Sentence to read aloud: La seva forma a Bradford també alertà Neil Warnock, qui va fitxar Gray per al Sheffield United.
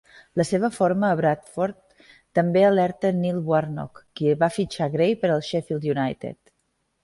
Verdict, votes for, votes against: rejected, 1, 2